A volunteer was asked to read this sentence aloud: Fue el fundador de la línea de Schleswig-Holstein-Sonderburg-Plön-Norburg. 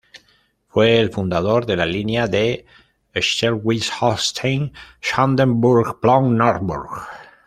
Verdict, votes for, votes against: rejected, 1, 2